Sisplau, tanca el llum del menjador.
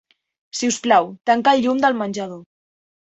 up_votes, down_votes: 2, 0